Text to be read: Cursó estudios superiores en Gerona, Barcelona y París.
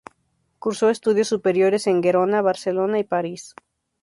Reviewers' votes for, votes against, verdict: 2, 0, accepted